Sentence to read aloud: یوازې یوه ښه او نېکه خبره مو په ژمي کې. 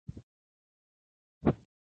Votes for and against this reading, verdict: 1, 2, rejected